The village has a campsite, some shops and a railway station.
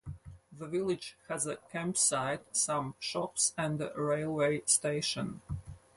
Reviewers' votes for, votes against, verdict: 4, 0, accepted